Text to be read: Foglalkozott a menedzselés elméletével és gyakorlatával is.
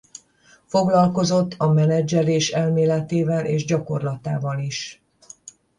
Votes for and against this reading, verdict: 10, 0, accepted